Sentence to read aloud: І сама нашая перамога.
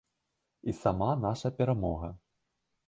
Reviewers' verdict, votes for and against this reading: rejected, 1, 2